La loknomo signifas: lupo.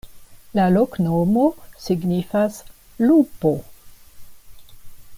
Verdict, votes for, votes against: accepted, 2, 0